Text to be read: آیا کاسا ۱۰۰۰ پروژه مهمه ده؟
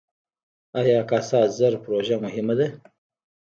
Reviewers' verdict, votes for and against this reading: rejected, 0, 2